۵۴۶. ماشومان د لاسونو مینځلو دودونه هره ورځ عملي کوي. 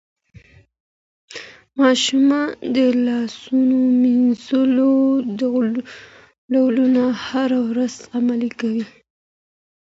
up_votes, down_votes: 0, 2